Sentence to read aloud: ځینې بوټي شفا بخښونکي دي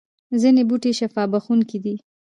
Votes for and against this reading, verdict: 2, 0, accepted